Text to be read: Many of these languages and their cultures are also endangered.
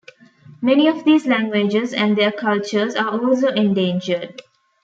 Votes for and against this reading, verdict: 2, 0, accepted